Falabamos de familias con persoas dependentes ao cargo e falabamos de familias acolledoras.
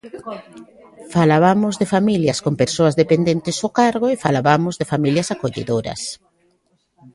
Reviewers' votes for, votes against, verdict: 1, 2, rejected